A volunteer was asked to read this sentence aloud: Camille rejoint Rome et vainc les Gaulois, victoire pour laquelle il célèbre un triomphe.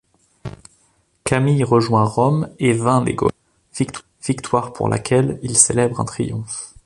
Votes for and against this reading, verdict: 0, 2, rejected